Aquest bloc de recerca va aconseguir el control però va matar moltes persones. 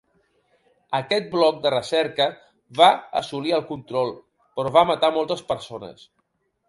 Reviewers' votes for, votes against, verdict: 1, 2, rejected